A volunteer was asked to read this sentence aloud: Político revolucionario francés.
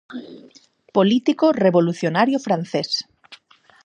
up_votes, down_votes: 4, 0